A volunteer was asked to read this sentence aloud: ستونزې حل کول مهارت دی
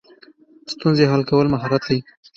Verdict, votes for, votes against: accepted, 3, 0